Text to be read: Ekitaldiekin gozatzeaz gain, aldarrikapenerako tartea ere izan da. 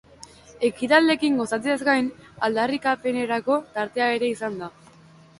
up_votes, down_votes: 2, 0